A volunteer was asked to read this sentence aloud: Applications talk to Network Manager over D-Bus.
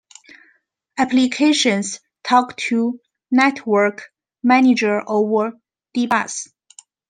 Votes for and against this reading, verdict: 2, 3, rejected